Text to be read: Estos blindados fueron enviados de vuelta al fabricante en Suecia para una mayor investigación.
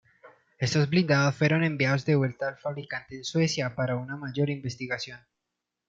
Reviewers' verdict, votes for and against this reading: accepted, 2, 0